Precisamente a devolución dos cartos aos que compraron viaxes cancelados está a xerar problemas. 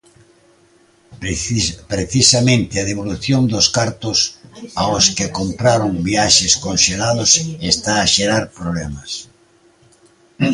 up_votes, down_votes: 0, 2